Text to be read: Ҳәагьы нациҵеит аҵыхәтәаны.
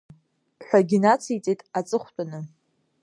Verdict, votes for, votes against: accepted, 2, 0